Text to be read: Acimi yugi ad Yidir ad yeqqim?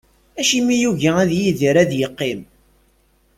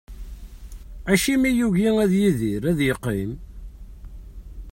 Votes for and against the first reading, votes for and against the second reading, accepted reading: 2, 0, 1, 2, first